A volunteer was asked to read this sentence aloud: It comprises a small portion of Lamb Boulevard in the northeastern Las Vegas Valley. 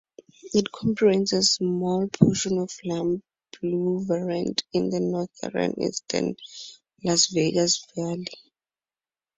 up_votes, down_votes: 2, 0